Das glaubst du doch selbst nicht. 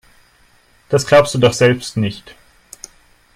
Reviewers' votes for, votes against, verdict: 2, 0, accepted